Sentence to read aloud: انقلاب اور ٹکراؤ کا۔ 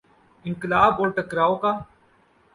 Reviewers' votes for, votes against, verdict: 0, 2, rejected